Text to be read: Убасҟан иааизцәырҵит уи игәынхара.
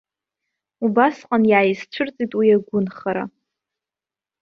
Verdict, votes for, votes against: rejected, 0, 2